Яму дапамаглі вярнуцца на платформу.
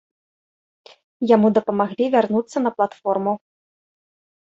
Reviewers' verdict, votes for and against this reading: accepted, 2, 1